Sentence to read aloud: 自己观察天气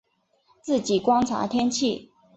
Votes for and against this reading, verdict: 4, 0, accepted